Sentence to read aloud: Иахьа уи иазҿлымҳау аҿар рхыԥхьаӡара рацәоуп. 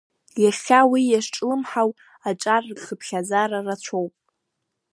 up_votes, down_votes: 2, 0